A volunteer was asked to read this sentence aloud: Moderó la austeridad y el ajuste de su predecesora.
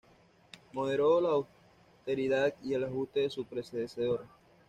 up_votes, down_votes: 1, 2